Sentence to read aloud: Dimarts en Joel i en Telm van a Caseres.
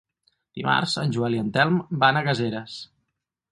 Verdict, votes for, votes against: rejected, 2, 4